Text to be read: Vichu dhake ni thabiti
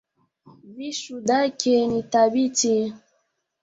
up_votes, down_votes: 0, 2